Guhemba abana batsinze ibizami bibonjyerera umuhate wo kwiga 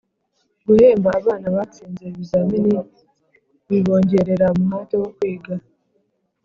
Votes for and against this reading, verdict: 1, 2, rejected